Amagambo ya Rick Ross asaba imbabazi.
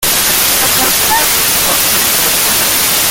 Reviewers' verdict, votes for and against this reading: rejected, 0, 2